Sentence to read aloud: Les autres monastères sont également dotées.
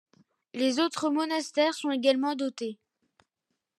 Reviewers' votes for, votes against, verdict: 2, 0, accepted